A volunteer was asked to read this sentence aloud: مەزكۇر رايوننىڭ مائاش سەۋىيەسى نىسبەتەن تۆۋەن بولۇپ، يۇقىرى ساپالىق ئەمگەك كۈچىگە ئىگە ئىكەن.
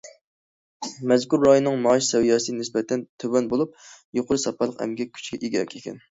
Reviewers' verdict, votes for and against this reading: accepted, 2, 1